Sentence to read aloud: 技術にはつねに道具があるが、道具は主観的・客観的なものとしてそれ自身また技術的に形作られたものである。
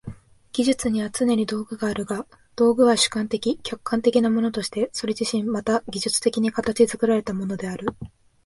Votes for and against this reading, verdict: 2, 0, accepted